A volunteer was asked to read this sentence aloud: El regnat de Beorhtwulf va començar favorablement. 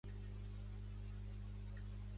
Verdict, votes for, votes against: rejected, 0, 2